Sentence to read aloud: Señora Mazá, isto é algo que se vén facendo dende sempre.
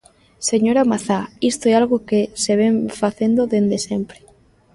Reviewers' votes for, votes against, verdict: 2, 0, accepted